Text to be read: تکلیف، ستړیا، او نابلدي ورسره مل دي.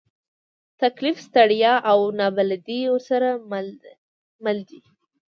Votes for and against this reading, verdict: 1, 2, rejected